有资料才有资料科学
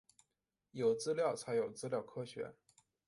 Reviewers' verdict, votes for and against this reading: accepted, 2, 1